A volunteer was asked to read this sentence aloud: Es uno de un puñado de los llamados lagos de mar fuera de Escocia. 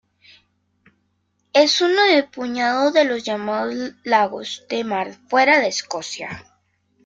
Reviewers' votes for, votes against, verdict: 0, 2, rejected